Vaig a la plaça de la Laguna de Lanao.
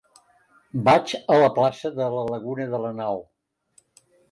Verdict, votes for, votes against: accepted, 2, 0